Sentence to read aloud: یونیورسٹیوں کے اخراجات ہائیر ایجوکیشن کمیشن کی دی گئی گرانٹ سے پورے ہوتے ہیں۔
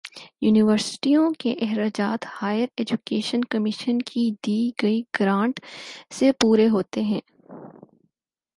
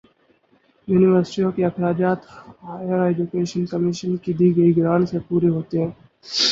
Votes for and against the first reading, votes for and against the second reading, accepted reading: 4, 0, 0, 4, first